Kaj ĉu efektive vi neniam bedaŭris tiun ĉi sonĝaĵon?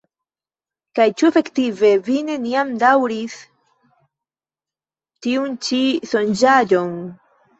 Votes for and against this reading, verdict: 2, 0, accepted